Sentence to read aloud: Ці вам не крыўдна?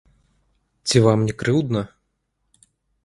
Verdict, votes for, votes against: rejected, 1, 2